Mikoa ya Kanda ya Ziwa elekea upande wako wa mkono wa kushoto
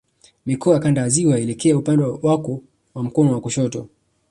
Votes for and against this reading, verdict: 3, 0, accepted